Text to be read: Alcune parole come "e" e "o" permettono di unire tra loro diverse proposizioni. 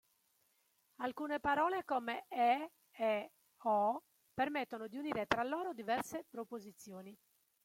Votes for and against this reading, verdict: 1, 2, rejected